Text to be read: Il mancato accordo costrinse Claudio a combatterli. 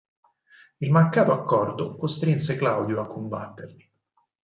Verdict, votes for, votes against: accepted, 6, 0